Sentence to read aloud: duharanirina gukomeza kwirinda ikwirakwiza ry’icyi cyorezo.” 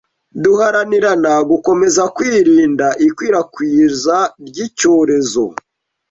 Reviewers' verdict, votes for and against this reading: rejected, 1, 2